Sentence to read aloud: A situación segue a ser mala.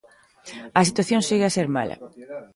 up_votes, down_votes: 1, 2